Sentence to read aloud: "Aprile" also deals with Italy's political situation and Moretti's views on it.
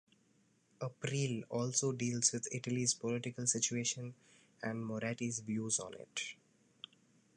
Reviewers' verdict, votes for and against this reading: rejected, 1, 2